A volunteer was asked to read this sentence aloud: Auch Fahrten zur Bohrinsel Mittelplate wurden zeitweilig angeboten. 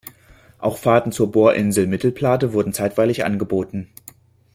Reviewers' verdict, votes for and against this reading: accepted, 2, 0